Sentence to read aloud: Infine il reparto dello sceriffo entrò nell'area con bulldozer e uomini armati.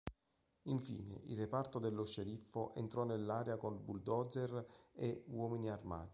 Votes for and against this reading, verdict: 0, 2, rejected